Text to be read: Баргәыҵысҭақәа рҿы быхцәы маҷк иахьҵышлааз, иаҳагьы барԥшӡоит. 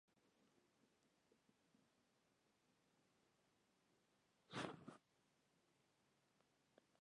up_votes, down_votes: 0, 2